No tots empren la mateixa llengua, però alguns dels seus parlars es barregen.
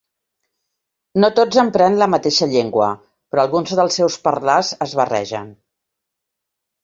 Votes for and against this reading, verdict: 2, 3, rejected